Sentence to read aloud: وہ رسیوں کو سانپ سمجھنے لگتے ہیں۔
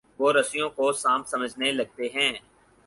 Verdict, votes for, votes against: accepted, 4, 0